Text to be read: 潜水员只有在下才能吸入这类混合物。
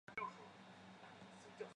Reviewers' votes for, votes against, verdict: 1, 3, rejected